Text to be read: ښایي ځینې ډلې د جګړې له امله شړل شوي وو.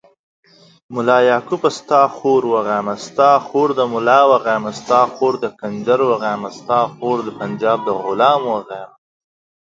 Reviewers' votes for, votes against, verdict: 0, 2, rejected